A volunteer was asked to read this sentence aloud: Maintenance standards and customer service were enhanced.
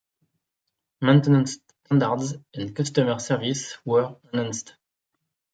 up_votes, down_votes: 0, 2